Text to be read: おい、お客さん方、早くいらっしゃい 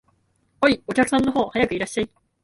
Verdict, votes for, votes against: accepted, 2, 1